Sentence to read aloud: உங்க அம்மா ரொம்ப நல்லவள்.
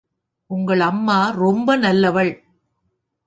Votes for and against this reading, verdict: 1, 2, rejected